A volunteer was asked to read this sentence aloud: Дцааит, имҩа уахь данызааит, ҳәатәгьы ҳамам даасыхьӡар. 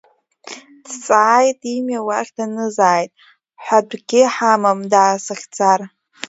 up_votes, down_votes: 4, 1